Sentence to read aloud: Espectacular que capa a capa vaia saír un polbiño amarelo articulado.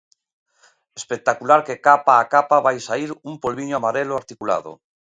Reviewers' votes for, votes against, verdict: 0, 2, rejected